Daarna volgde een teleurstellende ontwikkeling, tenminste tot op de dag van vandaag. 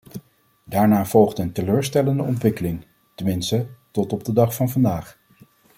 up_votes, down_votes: 2, 0